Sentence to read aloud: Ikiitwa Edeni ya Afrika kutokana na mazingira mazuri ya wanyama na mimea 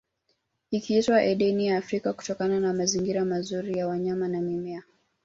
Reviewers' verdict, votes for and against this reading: accepted, 2, 0